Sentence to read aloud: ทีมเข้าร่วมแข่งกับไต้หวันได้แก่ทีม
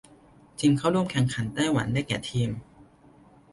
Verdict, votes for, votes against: rejected, 0, 2